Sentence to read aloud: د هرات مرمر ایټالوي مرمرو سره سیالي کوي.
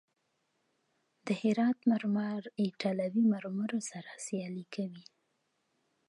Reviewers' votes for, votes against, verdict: 2, 0, accepted